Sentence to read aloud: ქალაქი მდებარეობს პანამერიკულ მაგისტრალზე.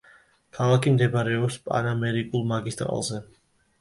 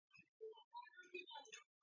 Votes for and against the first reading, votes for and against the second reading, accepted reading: 2, 0, 0, 2, first